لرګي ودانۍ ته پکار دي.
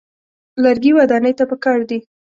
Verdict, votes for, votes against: accepted, 2, 0